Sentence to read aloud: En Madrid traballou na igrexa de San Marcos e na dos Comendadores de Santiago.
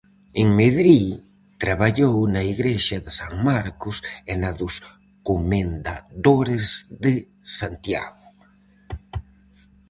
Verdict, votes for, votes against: rejected, 0, 4